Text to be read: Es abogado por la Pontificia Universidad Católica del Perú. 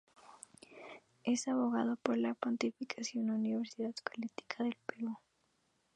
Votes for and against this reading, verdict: 0, 4, rejected